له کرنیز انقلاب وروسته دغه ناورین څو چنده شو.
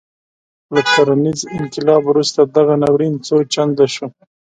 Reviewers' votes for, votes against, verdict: 1, 2, rejected